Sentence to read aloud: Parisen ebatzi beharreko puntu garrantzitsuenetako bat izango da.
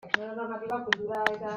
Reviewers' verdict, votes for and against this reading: rejected, 0, 2